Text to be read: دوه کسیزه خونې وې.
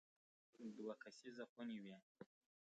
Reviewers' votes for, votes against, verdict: 0, 2, rejected